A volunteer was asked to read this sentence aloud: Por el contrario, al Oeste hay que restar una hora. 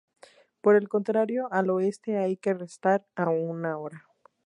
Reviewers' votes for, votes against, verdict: 0, 2, rejected